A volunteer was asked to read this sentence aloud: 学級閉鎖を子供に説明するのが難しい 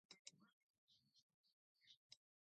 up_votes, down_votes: 0, 2